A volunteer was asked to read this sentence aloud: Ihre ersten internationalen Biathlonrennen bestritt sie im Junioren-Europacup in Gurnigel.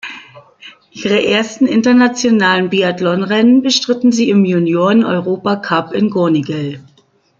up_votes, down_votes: 0, 2